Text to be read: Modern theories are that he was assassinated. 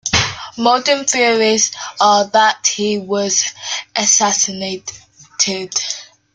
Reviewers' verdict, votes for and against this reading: rejected, 1, 2